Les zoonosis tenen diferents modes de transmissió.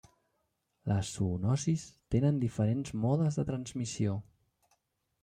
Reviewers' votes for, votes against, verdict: 2, 0, accepted